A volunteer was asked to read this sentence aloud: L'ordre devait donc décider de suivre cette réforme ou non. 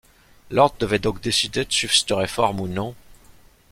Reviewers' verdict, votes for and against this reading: rejected, 1, 2